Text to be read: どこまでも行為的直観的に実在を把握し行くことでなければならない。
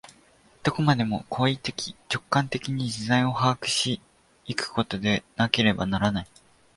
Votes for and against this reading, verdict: 2, 0, accepted